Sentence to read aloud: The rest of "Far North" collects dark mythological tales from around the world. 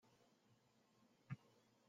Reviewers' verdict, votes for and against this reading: rejected, 0, 2